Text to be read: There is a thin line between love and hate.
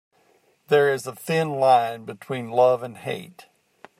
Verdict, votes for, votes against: accepted, 2, 0